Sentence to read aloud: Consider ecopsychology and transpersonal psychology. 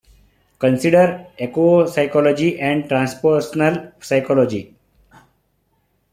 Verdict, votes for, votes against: accepted, 2, 1